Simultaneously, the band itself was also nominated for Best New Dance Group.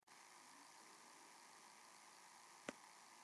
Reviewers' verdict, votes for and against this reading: rejected, 0, 2